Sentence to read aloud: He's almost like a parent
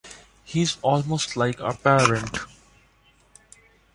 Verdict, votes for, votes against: accepted, 2, 0